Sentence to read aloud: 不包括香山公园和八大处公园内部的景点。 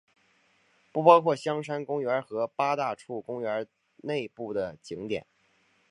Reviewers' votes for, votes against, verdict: 3, 0, accepted